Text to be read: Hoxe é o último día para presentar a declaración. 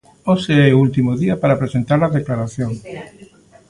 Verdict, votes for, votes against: rejected, 0, 2